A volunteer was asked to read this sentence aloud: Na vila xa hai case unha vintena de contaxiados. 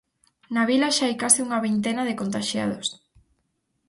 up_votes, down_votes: 4, 0